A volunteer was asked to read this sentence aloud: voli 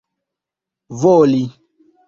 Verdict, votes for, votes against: accepted, 2, 0